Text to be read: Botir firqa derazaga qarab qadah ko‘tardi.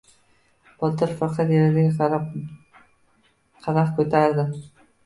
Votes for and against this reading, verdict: 0, 2, rejected